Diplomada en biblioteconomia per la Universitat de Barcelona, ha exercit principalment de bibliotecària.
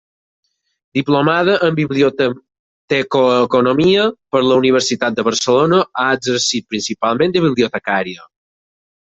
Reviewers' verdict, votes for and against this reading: rejected, 0, 4